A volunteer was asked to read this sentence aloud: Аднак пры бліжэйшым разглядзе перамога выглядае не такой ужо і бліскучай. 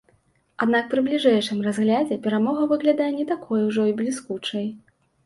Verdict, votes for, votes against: accepted, 2, 0